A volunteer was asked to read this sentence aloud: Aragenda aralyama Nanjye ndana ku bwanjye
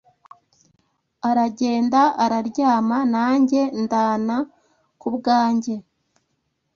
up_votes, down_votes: 2, 0